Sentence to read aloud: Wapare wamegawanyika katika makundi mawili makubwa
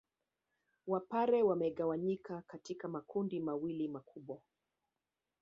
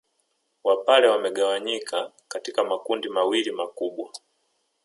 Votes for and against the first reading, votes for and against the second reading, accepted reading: 1, 2, 2, 1, second